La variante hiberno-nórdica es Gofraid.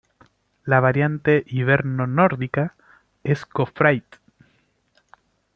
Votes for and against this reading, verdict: 2, 0, accepted